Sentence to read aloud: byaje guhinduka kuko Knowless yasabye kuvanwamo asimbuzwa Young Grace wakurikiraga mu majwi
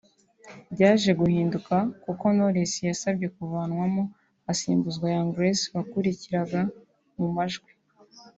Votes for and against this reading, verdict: 3, 0, accepted